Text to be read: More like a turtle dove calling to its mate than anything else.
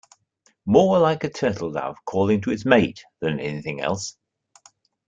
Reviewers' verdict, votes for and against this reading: accepted, 2, 0